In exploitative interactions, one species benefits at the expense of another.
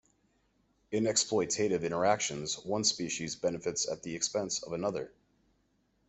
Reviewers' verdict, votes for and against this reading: accepted, 2, 0